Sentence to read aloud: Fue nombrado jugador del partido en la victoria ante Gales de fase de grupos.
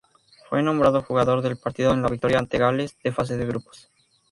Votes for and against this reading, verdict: 0, 2, rejected